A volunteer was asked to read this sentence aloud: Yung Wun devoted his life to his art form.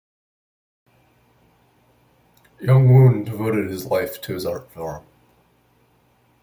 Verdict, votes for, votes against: rejected, 1, 2